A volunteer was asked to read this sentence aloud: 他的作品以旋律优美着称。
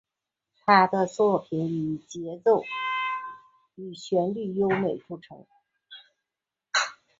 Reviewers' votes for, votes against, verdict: 2, 0, accepted